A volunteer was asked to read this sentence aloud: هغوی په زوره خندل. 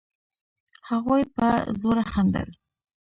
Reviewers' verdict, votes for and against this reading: rejected, 1, 2